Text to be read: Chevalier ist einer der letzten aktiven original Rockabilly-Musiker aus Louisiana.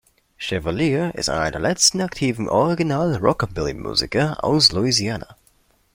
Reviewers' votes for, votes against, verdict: 2, 1, accepted